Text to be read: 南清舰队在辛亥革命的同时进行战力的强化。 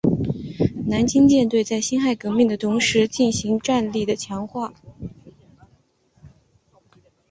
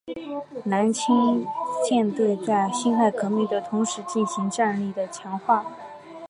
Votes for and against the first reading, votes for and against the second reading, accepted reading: 2, 1, 1, 2, first